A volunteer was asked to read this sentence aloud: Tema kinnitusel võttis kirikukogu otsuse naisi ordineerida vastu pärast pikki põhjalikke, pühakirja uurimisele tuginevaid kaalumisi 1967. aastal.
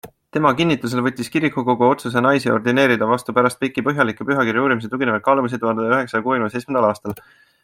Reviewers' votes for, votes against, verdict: 0, 2, rejected